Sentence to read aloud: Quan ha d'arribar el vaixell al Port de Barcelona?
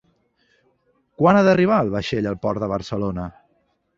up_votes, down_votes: 3, 0